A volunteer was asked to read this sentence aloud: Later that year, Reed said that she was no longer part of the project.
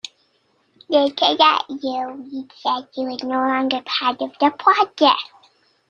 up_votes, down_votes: 1, 2